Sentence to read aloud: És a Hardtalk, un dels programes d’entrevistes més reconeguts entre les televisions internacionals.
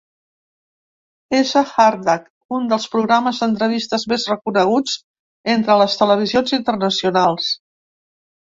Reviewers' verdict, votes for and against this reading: accepted, 2, 0